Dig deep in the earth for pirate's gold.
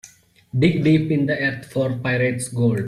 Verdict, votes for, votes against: accepted, 2, 0